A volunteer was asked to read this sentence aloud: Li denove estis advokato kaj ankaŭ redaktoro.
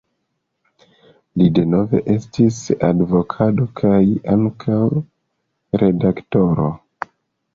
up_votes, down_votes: 1, 2